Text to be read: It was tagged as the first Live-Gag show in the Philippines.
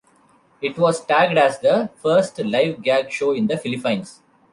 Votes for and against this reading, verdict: 1, 2, rejected